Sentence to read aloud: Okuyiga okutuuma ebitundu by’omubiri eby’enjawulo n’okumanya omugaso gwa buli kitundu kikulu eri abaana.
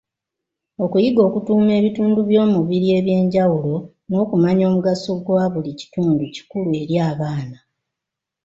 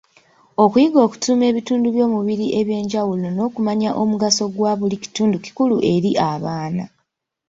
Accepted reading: first